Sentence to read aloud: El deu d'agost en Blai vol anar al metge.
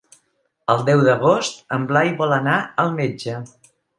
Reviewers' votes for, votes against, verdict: 3, 0, accepted